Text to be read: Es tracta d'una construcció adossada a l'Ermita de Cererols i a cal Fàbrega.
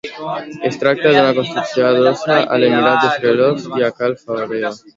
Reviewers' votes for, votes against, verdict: 1, 2, rejected